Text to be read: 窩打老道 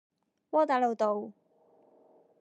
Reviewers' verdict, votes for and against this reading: accepted, 2, 0